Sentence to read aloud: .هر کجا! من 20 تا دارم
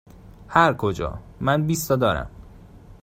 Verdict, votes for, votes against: rejected, 0, 2